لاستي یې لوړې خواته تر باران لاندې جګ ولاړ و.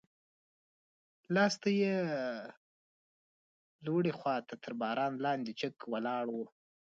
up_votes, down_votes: 0, 2